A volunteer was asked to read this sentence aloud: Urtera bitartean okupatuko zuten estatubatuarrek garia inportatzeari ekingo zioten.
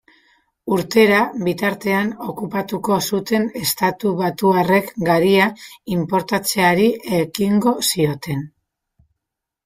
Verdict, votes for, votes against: rejected, 0, 2